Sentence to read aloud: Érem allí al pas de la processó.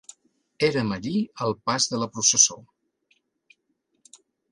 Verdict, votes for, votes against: accepted, 2, 0